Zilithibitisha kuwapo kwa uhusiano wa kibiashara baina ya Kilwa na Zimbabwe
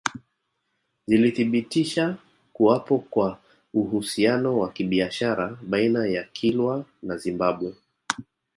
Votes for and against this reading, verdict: 2, 1, accepted